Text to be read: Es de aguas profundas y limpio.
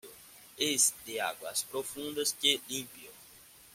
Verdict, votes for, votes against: rejected, 1, 2